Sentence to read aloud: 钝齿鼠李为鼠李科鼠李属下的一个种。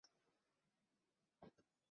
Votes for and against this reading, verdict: 0, 2, rejected